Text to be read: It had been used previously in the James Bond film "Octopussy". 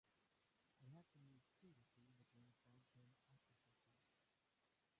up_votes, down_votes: 0, 2